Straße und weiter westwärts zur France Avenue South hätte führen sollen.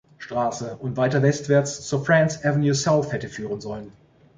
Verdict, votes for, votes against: accepted, 2, 0